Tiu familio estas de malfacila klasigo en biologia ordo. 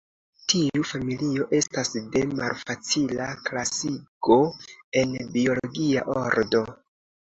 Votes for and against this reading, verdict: 2, 0, accepted